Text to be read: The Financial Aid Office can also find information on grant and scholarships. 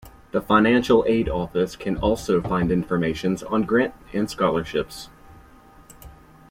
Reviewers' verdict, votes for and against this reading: rejected, 1, 2